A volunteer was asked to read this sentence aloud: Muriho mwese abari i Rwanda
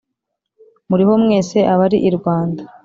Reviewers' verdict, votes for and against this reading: accepted, 2, 0